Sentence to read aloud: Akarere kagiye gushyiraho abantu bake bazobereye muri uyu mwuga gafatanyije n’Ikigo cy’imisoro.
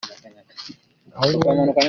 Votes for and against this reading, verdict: 0, 2, rejected